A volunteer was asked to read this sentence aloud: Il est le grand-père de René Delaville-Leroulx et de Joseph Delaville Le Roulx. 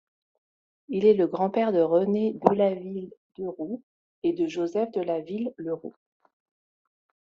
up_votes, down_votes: 2, 0